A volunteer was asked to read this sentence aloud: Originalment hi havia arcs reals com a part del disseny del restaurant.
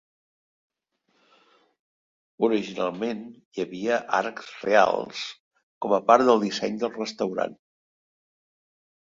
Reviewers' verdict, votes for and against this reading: accepted, 2, 0